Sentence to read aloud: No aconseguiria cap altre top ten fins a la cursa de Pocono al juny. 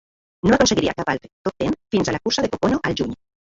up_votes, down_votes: 0, 2